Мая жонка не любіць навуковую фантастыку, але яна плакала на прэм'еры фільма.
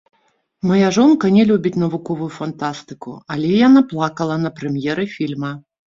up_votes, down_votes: 0, 2